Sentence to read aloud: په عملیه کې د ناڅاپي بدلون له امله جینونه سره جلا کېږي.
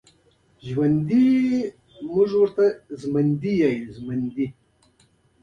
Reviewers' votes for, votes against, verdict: 2, 1, accepted